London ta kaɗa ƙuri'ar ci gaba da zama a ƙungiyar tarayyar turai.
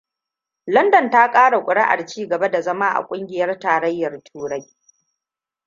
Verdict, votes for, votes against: rejected, 1, 2